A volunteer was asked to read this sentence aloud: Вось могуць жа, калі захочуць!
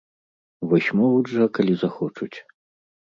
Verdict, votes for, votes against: accepted, 2, 0